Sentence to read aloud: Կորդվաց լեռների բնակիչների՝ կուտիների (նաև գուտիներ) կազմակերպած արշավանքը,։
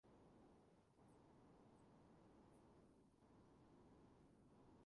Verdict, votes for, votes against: rejected, 0, 2